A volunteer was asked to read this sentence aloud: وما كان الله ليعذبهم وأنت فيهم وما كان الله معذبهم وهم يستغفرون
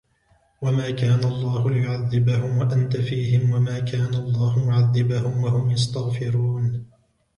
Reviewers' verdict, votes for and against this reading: accepted, 2, 0